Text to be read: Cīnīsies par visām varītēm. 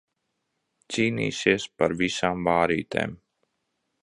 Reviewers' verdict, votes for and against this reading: rejected, 0, 2